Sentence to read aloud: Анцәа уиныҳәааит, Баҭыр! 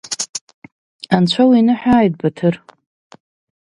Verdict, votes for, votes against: accepted, 2, 0